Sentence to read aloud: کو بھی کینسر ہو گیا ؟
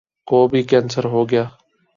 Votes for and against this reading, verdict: 4, 0, accepted